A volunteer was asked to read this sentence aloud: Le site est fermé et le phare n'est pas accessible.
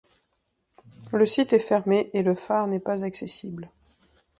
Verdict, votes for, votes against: rejected, 0, 2